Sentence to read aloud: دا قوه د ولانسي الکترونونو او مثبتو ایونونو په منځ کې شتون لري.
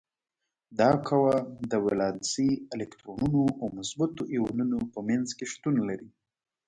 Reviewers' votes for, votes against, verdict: 2, 1, accepted